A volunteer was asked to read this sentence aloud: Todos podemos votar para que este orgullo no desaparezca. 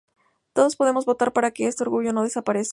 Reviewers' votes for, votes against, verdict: 2, 0, accepted